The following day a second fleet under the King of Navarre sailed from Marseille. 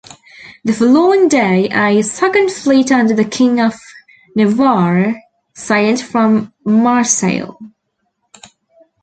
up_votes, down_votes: 1, 2